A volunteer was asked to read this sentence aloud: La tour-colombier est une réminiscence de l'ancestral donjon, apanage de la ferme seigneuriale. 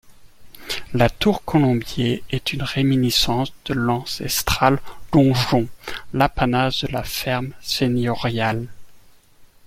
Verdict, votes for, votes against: rejected, 0, 2